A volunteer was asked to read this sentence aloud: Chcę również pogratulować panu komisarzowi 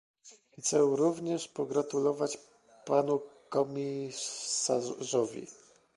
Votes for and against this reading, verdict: 1, 2, rejected